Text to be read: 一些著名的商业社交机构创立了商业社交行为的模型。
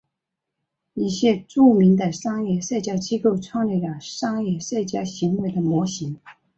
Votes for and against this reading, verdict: 4, 1, accepted